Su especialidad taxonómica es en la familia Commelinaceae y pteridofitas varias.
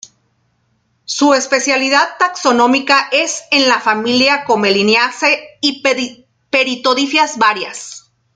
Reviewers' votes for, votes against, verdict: 1, 2, rejected